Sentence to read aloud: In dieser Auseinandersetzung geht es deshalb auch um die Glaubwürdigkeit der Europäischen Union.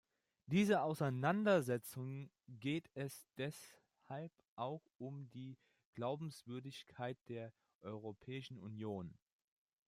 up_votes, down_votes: 0, 2